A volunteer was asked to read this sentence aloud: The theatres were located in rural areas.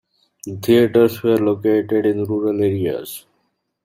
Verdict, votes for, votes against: rejected, 1, 2